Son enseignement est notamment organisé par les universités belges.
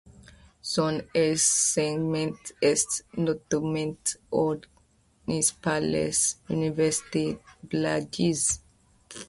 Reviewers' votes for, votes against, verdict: 0, 2, rejected